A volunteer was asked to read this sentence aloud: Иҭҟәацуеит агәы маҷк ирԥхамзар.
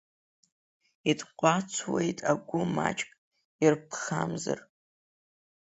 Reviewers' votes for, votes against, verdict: 2, 0, accepted